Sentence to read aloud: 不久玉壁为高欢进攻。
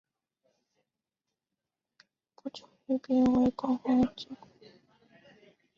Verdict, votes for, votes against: rejected, 1, 2